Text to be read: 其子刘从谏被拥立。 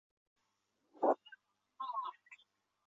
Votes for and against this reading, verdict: 0, 2, rejected